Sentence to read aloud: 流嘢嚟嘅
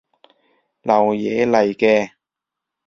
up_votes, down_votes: 2, 0